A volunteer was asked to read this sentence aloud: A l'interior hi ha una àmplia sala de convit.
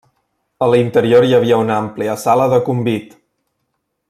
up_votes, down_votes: 0, 2